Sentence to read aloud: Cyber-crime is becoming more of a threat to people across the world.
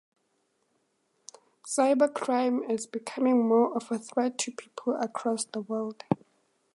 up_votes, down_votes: 2, 0